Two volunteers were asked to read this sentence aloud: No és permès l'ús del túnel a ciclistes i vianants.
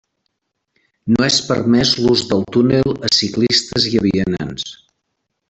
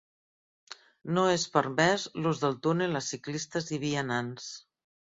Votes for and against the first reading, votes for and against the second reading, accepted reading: 1, 2, 3, 0, second